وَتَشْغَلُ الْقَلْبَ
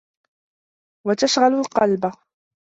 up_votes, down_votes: 2, 0